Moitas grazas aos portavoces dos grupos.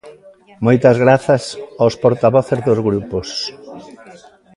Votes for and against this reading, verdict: 0, 2, rejected